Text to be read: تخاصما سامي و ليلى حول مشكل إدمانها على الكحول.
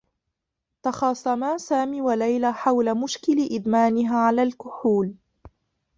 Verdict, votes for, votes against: accepted, 2, 1